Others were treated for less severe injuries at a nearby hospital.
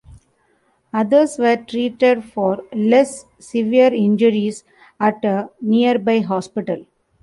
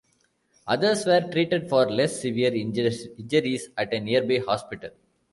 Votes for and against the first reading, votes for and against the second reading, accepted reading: 2, 0, 0, 2, first